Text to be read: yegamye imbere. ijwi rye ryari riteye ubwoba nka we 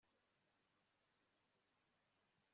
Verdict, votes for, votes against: accepted, 2, 0